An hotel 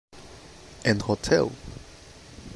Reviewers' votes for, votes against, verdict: 2, 0, accepted